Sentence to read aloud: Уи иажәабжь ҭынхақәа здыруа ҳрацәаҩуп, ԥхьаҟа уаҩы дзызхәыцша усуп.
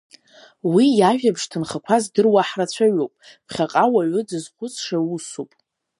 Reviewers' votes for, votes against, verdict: 3, 0, accepted